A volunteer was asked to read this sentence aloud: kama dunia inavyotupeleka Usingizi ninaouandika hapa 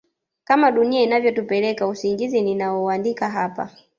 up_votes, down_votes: 1, 2